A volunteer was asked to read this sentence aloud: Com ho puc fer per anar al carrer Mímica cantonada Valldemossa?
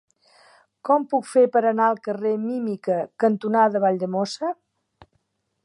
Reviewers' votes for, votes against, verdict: 1, 2, rejected